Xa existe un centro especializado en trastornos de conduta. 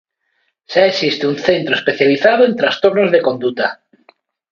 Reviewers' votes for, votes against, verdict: 3, 0, accepted